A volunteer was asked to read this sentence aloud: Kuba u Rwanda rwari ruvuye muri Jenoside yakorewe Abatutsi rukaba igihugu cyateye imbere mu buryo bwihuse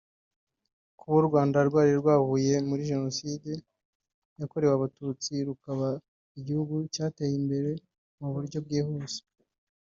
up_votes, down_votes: 2, 1